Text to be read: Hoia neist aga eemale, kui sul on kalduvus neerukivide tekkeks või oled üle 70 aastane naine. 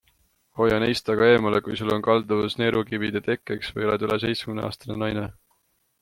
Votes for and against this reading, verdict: 0, 2, rejected